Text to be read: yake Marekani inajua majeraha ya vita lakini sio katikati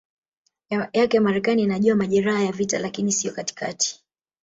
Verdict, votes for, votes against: rejected, 1, 2